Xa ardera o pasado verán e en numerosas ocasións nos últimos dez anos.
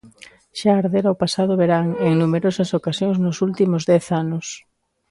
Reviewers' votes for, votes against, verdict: 2, 0, accepted